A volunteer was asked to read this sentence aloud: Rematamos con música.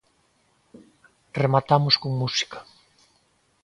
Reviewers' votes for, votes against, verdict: 2, 0, accepted